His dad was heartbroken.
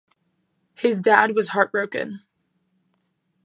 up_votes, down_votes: 2, 0